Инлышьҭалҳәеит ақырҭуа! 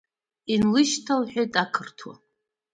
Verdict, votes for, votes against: accepted, 2, 0